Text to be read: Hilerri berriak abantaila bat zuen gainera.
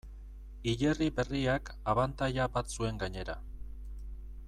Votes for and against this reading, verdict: 2, 0, accepted